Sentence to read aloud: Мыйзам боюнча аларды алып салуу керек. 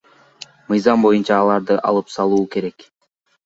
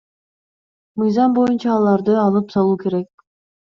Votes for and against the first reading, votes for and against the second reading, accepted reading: 1, 2, 2, 0, second